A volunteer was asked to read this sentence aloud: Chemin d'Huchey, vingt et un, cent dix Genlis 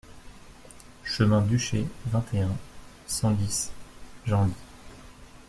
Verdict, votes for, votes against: accepted, 2, 0